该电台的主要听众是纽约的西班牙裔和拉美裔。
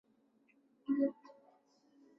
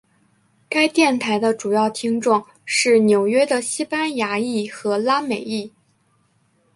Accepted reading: second